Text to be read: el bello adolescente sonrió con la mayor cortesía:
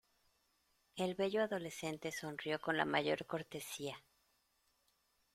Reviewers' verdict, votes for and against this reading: accepted, 2, 0